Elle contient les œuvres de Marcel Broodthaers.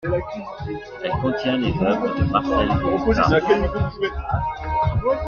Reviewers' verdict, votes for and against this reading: accepted, 2, 1